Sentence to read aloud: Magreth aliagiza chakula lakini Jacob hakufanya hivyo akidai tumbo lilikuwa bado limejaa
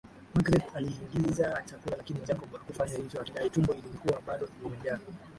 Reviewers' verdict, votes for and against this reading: rejected, 0, 2